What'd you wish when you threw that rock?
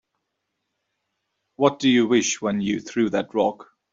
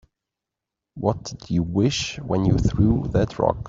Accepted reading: second